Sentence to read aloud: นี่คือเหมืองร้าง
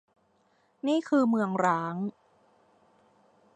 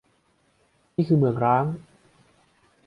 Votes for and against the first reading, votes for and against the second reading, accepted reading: 0, 2, 2, 0, second